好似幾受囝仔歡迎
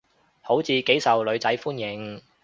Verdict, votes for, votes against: rejected, 0, 2